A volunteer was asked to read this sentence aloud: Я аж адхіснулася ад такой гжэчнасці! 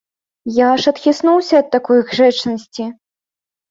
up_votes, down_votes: 0, 2